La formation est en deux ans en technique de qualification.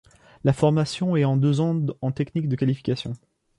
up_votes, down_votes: 2, 0